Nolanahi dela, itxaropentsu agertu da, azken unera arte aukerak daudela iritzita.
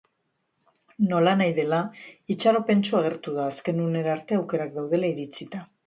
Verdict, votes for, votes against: accepted, 2, 0